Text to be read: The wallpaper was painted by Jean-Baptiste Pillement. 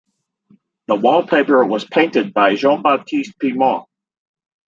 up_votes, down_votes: 0, 2